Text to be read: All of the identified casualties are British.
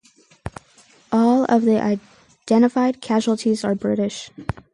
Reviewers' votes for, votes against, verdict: 4, 0, accepted